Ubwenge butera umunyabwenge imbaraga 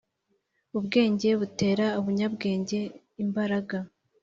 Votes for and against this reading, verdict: 2, 0, accepted